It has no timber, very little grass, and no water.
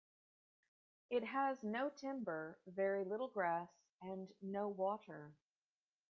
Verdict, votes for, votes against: accepted, 2, 0